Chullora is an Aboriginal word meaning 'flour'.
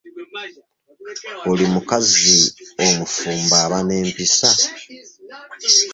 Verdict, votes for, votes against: rejected, 0, 2